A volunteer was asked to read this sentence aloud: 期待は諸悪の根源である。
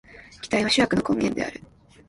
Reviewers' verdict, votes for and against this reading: rejected, 0, 2